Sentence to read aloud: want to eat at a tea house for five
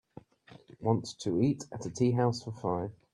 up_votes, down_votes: 2, 0